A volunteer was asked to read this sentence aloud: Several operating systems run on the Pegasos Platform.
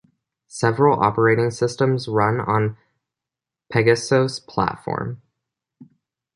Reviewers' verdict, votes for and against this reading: rejected, 1, 2